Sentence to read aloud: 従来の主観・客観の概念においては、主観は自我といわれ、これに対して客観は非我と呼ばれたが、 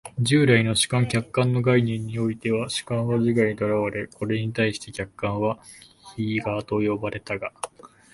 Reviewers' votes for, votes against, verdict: 2, 0, accepted